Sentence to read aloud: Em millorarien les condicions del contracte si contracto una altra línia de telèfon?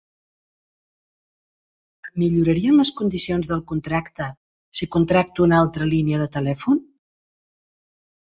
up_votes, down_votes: 1, 2